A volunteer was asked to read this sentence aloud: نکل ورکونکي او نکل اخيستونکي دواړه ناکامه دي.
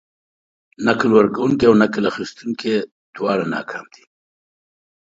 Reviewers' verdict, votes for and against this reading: accepted, 2, 0